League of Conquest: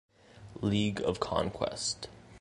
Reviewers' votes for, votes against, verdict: 2, 0, accepted